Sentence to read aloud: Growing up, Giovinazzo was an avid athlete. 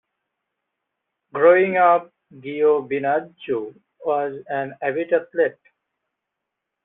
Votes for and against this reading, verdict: 2, 0, accepted